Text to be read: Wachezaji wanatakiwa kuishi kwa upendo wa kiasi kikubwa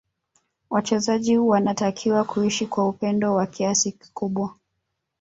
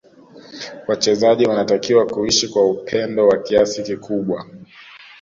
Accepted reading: second